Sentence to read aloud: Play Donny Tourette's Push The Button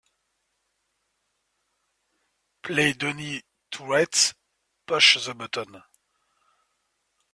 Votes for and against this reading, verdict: 1, 3, rejected